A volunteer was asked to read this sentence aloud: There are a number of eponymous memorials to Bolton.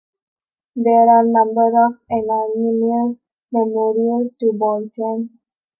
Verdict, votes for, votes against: rejected, 0, 3